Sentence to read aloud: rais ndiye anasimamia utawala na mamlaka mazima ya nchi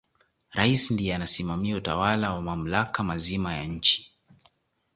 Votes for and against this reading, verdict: 2, 0, accepted